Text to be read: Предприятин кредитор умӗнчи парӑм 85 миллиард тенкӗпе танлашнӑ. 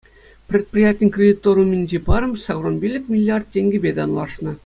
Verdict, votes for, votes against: rejected, 0, 2